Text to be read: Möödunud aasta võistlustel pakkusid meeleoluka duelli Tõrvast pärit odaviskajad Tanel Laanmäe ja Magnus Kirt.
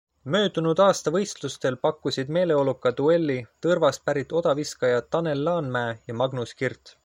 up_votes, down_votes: 2, 0